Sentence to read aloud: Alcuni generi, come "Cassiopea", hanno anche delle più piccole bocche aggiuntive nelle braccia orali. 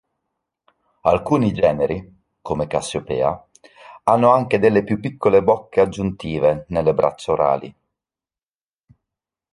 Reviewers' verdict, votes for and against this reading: accepted, 2, 0